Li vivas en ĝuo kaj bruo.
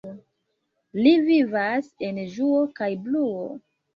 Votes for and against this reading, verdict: 0, 2, rejected